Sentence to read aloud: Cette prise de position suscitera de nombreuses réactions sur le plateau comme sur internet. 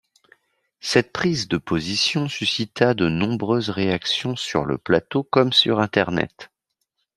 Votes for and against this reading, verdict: 2, 1, accepted